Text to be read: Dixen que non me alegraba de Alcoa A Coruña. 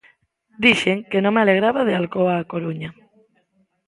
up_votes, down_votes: 2, 0